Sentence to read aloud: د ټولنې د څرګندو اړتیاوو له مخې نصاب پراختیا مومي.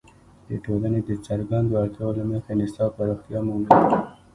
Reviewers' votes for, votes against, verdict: 1, 2, rejected